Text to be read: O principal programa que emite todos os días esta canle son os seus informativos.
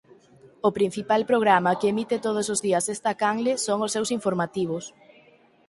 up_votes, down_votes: 4, 0